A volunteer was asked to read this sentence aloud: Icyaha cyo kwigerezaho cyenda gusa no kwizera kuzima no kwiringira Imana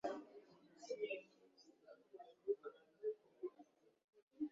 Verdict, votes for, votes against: rejected, 0, 2